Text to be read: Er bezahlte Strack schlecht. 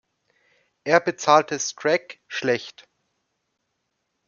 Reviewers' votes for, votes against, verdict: 0, 2, rejected